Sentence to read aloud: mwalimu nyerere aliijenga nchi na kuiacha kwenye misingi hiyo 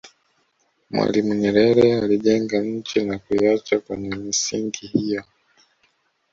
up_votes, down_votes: 1, 2